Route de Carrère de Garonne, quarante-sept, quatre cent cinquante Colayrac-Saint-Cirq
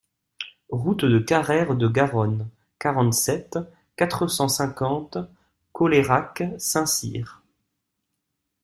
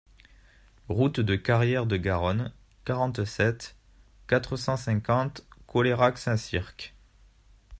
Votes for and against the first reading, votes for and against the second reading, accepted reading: 2, 0, 0, 2, first